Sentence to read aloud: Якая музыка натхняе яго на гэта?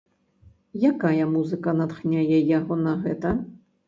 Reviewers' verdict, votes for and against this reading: accepted, 2, 0